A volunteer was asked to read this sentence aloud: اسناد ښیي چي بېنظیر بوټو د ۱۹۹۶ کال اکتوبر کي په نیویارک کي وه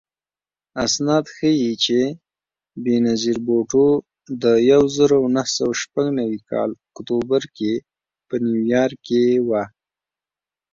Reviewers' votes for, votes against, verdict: 0, 2, rejected